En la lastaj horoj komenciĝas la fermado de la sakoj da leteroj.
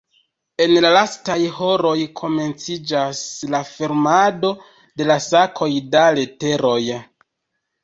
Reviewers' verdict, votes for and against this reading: rejected, 1, 2